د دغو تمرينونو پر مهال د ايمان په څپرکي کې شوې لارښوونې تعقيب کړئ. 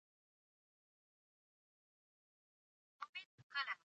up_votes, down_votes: 1, 2